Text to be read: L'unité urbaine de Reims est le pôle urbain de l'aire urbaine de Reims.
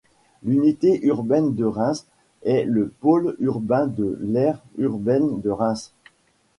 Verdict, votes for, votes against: accepted, 2, 1